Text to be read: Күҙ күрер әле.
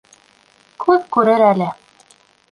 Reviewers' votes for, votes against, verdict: 2, 0, accepted